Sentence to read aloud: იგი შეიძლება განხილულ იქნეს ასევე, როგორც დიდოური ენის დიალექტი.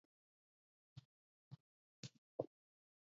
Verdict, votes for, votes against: rejected, 0, 2